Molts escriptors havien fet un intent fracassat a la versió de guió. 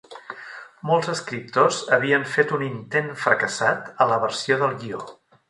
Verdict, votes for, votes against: rejected, 1, 2